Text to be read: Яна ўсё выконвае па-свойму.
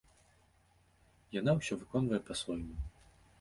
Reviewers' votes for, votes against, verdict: 2, 0, accepted